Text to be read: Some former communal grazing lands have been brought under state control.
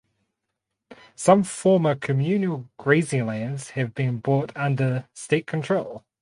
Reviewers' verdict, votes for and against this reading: rejected, 2, 2